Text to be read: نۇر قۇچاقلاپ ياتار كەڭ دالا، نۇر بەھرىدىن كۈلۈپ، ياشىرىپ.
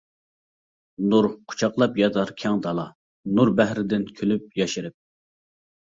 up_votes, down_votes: 2, 0